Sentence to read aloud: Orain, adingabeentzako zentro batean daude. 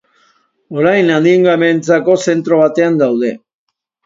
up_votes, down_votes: 2, 0